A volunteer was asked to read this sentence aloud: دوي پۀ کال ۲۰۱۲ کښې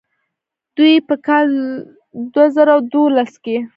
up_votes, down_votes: 0, 2